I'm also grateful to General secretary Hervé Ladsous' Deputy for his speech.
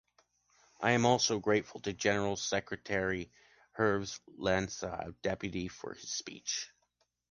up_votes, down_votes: 0, 2